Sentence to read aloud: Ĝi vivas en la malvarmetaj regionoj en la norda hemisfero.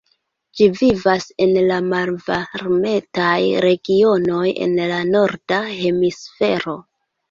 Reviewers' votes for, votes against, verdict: 2, 1, accepted